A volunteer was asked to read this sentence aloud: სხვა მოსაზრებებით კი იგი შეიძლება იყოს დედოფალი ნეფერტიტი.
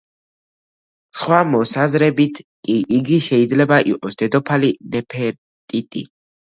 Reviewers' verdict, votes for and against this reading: rejected, 0, 2